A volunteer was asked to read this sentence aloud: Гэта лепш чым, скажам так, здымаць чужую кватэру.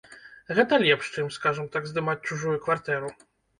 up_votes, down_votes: 1, 2